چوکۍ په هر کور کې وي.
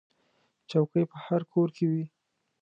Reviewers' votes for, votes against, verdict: 2, 0, accepted